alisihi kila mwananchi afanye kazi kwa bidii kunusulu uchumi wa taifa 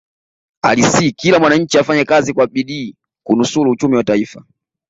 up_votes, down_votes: 0, 2